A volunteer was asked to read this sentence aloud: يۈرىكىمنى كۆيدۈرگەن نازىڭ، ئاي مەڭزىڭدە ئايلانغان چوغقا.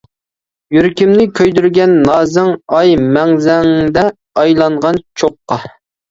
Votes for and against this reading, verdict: 0, 2, rejected